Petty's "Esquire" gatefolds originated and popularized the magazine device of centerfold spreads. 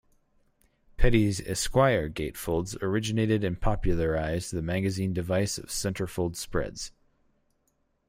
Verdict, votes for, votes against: accepted, 4, 0